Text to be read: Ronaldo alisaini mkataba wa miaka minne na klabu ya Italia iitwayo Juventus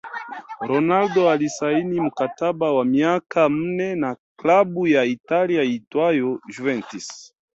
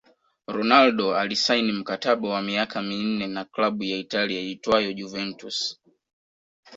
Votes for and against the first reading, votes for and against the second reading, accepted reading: 0, 2, 3, 0, second